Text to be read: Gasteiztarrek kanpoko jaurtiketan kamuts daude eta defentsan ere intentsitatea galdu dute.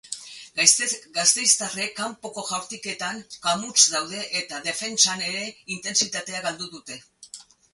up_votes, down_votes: 2, 6